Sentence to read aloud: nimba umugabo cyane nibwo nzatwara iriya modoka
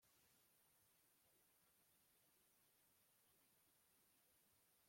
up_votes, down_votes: 0, 2